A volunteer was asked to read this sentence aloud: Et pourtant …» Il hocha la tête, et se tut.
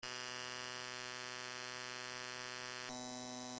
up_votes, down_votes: 0, 2